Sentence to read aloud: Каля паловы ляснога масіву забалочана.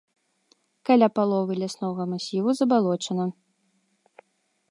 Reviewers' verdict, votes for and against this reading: accepted, 2, 0